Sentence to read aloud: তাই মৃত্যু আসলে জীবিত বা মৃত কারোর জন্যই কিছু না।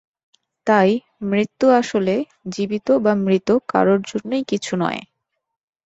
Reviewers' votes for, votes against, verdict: 2, 0, accepted